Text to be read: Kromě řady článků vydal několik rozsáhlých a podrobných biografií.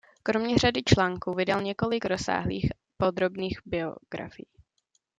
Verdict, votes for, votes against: rejected, 0, 2